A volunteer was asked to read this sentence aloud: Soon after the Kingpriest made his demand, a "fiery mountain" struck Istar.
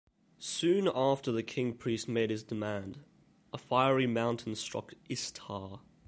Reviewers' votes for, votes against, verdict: 2, 0, accepted